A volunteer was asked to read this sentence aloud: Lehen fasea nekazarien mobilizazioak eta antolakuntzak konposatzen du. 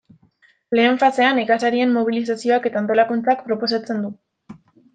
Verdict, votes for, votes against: rejected, 1, 2